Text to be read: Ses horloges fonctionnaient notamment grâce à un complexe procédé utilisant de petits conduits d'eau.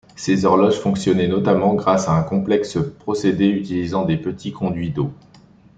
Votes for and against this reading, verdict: 2, 1, accepted